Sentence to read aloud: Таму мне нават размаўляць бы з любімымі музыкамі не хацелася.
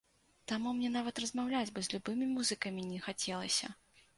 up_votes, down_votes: 0, 2